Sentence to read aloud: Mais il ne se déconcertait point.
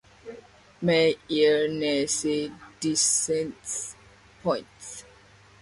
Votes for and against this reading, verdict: 0, 2, rejected